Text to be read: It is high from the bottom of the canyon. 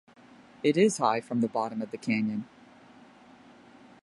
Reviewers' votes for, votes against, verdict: 2, 0, accepted